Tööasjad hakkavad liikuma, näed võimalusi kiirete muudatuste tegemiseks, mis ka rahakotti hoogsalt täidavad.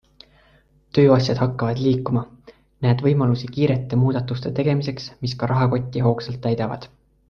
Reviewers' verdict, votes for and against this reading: accepted, 2, 0